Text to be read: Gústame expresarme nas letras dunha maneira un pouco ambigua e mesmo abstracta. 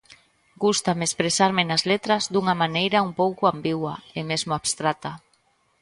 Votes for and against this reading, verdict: 2, 0, accepted